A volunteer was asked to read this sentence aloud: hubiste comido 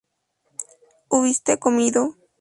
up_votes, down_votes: 0, 2